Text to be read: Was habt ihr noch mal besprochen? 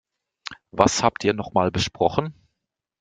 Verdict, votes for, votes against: accepted, 2, 0